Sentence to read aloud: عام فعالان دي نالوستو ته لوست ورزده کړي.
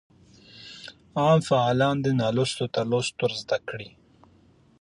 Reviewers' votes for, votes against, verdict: 2, 0, accepted